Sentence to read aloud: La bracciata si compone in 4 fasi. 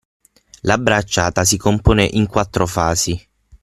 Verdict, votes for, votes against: rejected, 0, 2